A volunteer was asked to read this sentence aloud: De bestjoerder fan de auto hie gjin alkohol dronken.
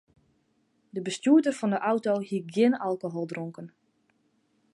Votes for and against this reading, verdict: 2, 0, accepted